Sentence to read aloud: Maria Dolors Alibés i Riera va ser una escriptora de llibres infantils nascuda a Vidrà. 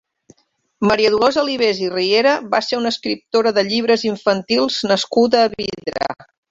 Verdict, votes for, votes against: accepted, 2, 0